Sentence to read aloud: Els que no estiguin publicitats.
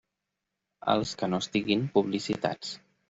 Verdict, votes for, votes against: accepted, 3, 0